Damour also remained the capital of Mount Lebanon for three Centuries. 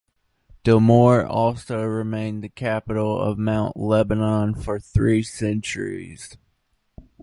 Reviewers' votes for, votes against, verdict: 2, 1, accepted